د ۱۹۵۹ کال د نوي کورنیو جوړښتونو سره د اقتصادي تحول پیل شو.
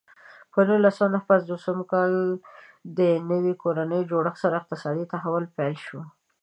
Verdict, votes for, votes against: rejected, 0, 2